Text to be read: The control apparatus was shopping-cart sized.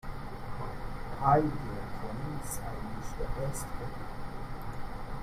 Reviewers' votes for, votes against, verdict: 0, 2, rejected